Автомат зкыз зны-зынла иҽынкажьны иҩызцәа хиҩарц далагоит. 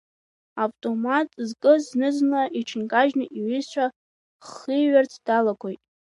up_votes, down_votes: 0, 2